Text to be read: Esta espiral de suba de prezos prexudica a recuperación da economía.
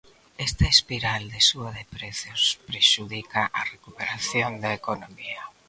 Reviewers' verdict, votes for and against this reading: accepted, 2, 0